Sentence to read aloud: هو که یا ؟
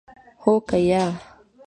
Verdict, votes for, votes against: rejected, 1, 2